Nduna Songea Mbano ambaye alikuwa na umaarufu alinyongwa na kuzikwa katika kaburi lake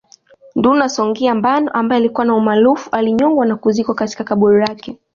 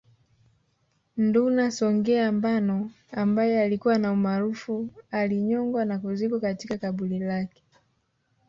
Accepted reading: first